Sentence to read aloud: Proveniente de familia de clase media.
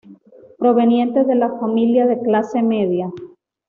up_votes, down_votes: 2, 0